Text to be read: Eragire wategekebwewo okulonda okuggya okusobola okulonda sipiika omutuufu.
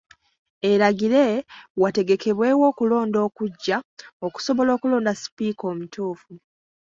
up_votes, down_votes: 2, 0